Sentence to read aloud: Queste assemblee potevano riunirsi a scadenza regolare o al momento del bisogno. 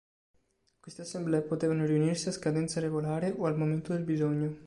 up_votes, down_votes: 2, 0